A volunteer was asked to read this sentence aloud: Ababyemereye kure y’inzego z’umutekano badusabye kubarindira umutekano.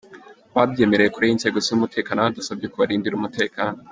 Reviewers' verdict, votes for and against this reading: accepted, 2, 1